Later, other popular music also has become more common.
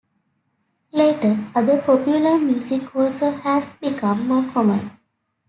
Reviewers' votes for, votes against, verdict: 2, 0, accepted